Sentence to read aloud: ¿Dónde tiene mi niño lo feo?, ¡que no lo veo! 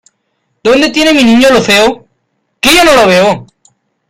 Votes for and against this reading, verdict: 1, 2, rejected